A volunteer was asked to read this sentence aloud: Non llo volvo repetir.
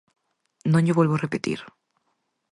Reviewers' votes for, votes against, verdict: 4, 0, accepted